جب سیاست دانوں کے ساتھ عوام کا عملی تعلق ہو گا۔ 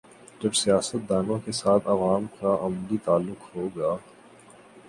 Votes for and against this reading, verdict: 12, 0, accepted